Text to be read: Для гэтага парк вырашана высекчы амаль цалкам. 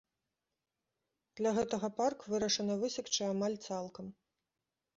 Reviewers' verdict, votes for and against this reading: accepted, 2, 0